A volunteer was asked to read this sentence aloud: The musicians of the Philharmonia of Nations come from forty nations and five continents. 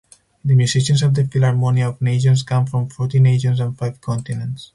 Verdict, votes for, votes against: accepted, 4, 2